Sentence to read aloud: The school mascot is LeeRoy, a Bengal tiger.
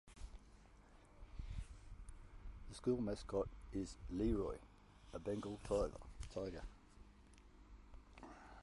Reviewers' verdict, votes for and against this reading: rejected, 0, 2